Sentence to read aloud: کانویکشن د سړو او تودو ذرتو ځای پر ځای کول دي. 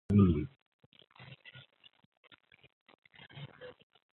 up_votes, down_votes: 0, 4